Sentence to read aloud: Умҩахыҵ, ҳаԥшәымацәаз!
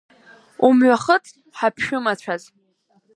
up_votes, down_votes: 2, 0